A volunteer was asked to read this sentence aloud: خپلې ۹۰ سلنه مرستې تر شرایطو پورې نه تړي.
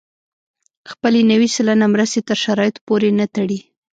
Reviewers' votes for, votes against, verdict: 0, 2, rejected